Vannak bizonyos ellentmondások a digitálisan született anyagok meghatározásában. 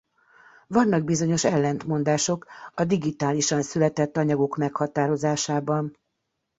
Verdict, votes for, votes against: accepted, 2, 0